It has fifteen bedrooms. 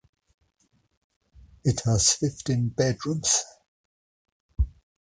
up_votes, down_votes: 2, 0